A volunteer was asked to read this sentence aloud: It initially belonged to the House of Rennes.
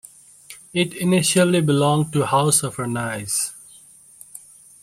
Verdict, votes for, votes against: accepted, 2, 1